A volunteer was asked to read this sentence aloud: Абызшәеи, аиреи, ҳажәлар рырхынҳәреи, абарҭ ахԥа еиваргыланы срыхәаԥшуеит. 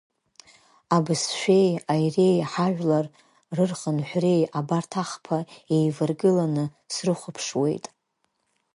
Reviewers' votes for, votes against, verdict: 2, 0, accepted